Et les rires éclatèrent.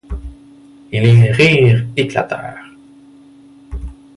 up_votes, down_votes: 2, 1